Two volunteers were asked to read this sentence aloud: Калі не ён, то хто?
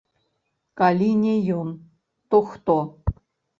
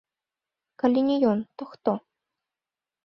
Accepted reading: second